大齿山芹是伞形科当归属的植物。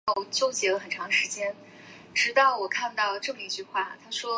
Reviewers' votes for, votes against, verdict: 0, 2, rejected